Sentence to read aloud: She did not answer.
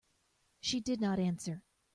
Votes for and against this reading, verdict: 2, 0, accepted